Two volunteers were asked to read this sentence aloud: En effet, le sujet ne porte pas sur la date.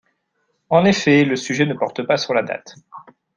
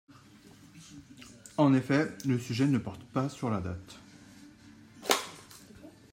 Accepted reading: first